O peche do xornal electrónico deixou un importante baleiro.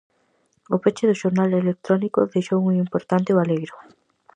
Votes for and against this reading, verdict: 4, 0, accepted